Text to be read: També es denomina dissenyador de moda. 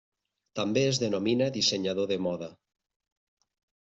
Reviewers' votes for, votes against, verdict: 3, 0, accepted